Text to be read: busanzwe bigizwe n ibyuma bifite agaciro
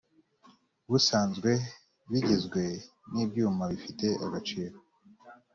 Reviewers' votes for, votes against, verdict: 3, 0, accepted